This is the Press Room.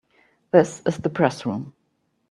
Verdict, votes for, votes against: accepted, 2, 0